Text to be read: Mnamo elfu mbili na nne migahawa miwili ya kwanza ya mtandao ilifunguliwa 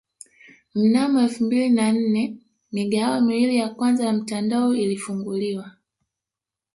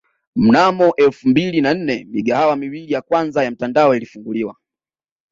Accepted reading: second